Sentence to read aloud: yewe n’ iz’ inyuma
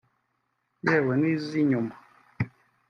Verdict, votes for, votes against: accepted, 2, 0